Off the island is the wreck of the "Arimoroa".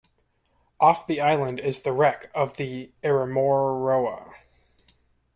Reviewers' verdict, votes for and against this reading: rejected, 1, 2